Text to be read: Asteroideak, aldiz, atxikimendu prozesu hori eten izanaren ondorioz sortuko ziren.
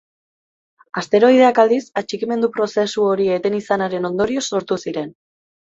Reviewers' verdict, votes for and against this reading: rejected, 0, 2